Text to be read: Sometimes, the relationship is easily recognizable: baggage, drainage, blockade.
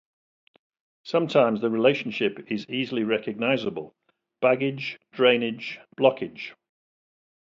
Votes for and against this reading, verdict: 2, 0, accepted